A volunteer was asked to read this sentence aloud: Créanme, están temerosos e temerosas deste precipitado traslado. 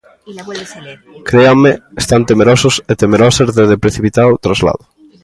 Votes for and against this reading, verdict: 1, 2, rejected